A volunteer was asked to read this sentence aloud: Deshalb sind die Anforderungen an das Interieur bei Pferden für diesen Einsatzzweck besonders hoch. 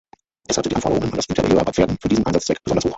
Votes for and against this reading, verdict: 3, 6, rejected